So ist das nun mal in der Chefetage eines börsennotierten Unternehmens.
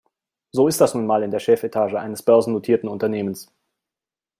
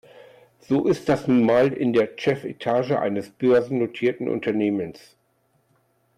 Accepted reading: first